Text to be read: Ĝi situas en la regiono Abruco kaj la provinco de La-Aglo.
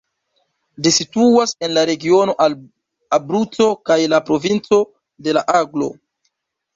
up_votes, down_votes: 1, 2